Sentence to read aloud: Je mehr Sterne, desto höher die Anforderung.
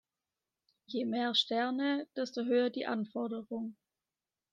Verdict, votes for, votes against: accepted, 2, 0